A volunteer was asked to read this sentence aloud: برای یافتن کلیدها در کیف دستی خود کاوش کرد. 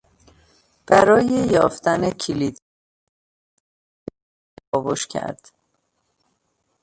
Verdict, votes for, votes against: rejected, 0, 2